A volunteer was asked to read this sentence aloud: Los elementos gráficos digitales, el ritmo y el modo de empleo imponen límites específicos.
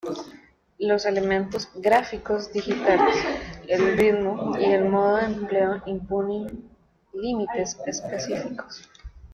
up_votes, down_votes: 1, 2